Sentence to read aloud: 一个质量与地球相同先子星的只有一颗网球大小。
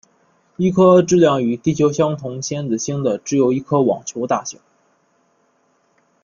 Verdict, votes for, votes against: rejected, 0, 2